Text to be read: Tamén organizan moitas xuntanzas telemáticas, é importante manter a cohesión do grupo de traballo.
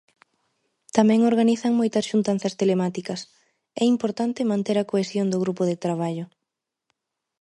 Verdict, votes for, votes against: accepted, 2, 0